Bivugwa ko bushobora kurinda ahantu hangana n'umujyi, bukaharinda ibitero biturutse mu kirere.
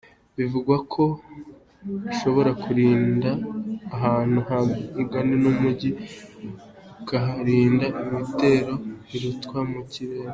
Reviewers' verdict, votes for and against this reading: rejected, 0, 2